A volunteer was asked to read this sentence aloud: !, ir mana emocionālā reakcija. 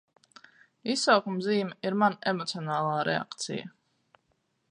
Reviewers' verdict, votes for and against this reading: accepted, 4, 0